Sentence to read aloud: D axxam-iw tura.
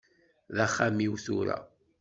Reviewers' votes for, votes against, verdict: 2, 0, accepted